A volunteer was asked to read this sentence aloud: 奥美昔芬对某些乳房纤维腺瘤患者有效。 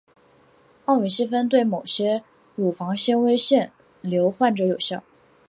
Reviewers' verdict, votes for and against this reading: accepted, 2, 0